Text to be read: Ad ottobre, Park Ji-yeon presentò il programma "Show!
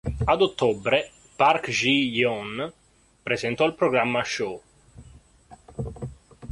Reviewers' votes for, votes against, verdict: 2, 0, accepted